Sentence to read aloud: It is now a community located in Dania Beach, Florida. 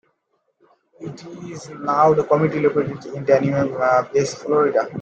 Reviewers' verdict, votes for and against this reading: rejected, 0, 2